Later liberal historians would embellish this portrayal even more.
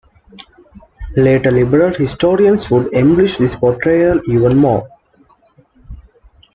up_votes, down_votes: 2, 0